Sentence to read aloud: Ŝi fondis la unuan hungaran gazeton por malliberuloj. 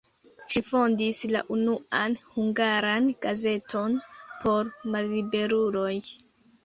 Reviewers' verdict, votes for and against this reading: accepted, 2, 1